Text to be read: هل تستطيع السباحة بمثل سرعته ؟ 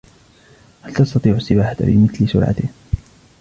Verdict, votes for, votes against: accepted, 3, 2